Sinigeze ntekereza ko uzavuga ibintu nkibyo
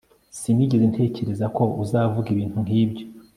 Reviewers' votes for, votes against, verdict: 2, 0, accepted